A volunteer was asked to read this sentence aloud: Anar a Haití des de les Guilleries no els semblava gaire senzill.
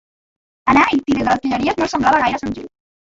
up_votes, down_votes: 0, 2